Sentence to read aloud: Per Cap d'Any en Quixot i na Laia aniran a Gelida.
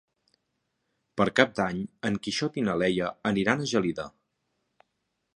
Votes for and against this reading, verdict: 1, 2, rejected